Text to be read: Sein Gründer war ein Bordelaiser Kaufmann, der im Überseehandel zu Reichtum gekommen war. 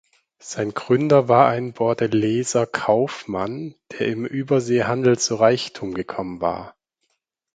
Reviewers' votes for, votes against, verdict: 4, 0, accepted